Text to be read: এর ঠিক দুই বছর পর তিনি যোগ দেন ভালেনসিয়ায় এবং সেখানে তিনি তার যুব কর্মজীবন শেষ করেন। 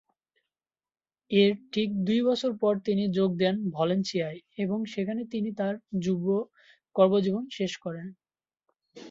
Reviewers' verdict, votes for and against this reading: accepted, 2, 0